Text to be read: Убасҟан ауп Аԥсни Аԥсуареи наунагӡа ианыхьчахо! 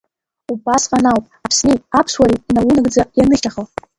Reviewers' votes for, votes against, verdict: 2, 0, accepted